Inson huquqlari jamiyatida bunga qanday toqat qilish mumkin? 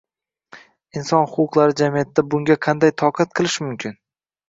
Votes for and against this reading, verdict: 2, 0, accepted